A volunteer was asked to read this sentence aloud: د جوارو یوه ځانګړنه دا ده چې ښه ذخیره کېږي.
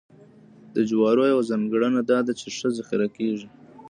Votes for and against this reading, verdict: 2, 0, accepted